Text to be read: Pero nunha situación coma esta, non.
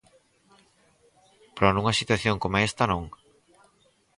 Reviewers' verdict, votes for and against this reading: rejected, 2, 2